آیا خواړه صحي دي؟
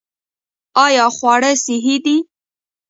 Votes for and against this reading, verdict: 2, 0, accepted